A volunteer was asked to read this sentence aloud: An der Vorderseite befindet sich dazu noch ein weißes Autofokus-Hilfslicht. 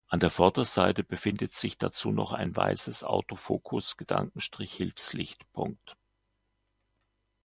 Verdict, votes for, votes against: rejected, 1, 2